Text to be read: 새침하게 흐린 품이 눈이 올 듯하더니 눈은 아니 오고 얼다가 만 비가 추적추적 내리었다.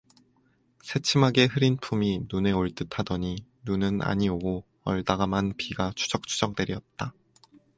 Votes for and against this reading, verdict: 0, 2, rejected